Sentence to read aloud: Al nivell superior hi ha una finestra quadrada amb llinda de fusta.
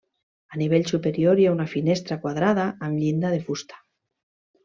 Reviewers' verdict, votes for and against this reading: accepted, 2, 0